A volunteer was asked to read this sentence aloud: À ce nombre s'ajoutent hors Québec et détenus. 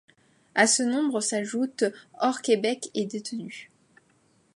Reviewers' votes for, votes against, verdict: 2, 0, accepted